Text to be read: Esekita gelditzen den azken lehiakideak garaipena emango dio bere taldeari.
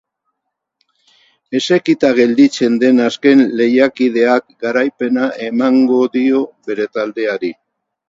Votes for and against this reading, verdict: 6, 2, accepted